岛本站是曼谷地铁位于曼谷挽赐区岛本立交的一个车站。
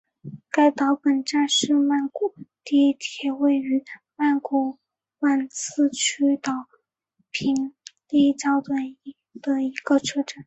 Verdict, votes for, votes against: accepted, 5, 0